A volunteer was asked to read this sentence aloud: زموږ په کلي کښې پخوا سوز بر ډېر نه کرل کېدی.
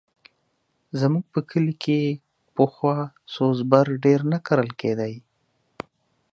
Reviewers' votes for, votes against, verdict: 2, 0, accepted